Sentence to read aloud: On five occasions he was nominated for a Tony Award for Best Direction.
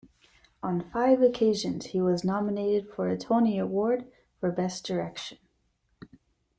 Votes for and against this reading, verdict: 2, 1, accepted